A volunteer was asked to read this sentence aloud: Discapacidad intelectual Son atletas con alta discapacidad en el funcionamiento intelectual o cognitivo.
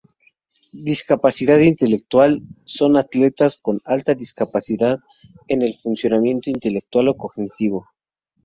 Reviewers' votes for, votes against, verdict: 0, 2, rejected